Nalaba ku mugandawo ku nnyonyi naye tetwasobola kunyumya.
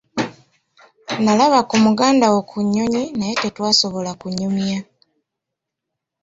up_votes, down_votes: 2, 0